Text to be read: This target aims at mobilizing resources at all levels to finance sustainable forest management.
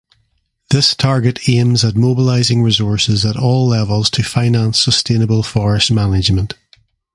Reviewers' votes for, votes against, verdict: 2, 0, accepted